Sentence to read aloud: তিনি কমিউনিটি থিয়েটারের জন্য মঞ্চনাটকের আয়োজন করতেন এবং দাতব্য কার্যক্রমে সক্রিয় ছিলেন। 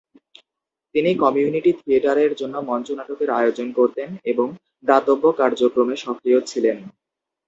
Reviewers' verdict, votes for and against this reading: accepted, 2, 0